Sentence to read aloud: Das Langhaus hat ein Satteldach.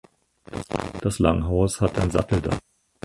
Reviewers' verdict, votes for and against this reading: rejected, 2, 4